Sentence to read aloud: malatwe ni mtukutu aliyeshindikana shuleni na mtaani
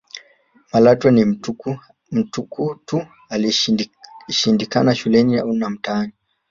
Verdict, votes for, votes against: rejected, 0, 2